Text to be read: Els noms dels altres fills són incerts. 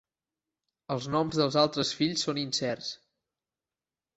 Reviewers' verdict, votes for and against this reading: accepted, 2, 0